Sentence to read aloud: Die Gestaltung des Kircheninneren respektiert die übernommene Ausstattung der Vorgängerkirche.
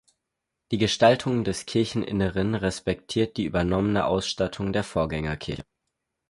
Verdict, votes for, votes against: rejected, 2, 4